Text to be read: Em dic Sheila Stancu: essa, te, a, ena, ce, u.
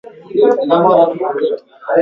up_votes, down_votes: 0, 2